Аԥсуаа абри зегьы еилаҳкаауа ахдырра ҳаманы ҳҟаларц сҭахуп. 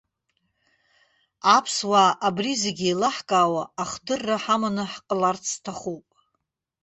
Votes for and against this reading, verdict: 1, 2, rejected